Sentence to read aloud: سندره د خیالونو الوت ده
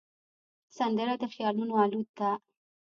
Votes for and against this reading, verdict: 2, 0, accepted